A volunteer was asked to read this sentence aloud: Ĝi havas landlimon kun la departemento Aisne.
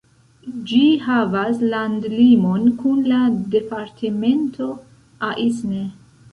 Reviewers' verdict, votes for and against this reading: rejected, 1, 2